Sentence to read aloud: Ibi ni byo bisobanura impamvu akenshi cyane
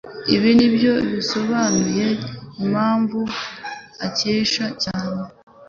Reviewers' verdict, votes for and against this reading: rejected, 1, 2